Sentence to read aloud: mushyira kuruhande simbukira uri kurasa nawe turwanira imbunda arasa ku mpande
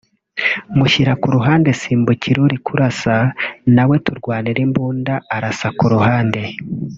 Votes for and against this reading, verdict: 0, 2, rejected